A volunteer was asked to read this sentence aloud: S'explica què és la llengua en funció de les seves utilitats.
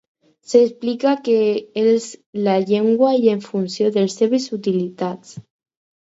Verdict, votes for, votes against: rejected, 0, 6